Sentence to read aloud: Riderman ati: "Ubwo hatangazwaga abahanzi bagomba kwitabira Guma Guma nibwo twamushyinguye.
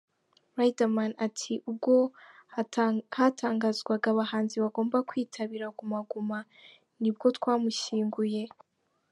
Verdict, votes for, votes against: rejected, 0, 2